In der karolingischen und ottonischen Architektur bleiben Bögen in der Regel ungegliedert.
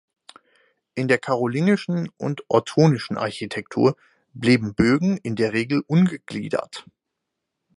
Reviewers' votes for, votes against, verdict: 2, 4, rejected